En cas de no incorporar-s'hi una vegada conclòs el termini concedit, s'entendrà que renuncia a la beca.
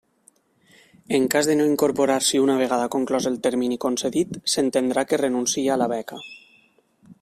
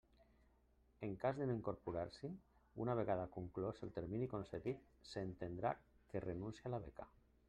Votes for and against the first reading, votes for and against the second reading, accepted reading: 1, 2, 2, 1, second